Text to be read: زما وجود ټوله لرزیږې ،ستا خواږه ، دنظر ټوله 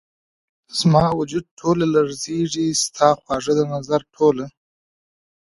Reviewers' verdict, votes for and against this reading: accepted, 2, 0